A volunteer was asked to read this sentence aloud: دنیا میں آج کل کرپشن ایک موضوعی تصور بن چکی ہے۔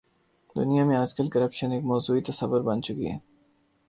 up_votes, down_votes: 2, 0